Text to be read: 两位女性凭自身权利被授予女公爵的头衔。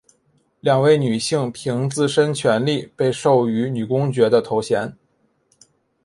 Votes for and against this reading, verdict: 2, 0, accepted